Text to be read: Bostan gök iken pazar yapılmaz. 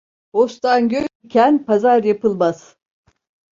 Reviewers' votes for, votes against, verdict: 2, 0, accepted